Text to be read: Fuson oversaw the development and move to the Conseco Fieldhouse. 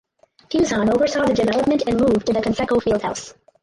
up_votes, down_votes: 4, 2